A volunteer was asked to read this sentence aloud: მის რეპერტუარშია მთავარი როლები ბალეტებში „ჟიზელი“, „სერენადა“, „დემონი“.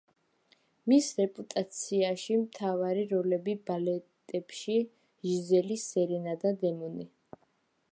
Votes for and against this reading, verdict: 0, 2, rejected